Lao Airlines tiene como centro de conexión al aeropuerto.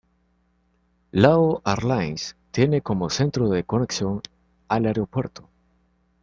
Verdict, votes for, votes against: accepted, 2, 0